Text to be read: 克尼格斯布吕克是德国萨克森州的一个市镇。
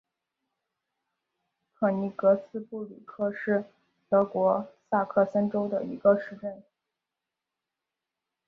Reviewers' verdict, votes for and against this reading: rejected, 0, 4